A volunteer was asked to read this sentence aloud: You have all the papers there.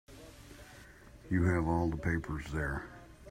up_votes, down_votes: 2, 1